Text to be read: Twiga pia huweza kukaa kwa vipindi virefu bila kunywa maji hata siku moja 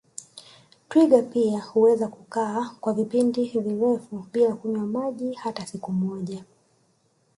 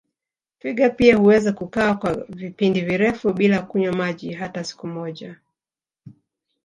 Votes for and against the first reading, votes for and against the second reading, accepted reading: 1, 2, 3, 0, second